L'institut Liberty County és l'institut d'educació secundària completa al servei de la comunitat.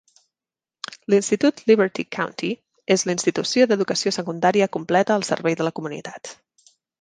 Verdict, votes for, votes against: rejected, 1, 2